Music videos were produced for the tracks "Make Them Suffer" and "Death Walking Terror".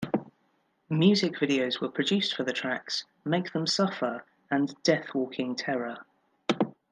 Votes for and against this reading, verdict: 2, 0, accepted